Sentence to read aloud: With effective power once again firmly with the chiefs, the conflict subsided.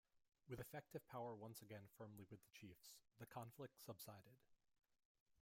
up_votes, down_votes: 0, 2